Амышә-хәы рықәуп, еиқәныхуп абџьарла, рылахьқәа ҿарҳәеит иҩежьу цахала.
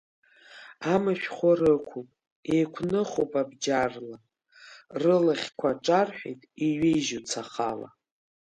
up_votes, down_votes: 2, 1